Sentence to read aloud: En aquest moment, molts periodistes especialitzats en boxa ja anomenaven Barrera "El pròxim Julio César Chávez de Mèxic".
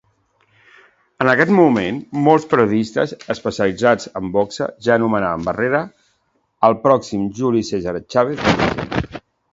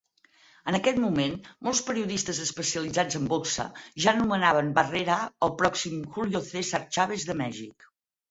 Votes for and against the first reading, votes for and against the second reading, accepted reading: 1, 2, 4, 0, second